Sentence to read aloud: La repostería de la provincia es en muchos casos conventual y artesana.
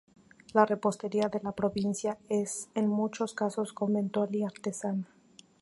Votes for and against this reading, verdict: 2, 0, accepted